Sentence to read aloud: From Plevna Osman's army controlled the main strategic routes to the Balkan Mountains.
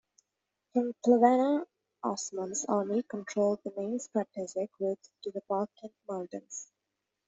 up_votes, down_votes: 0, 2